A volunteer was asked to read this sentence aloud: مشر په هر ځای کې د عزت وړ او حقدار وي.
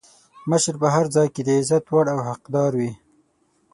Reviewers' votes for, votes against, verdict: 6, 0, accepted